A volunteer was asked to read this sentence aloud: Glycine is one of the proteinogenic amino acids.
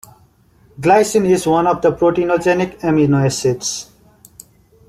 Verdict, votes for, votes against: accepted, 2, 0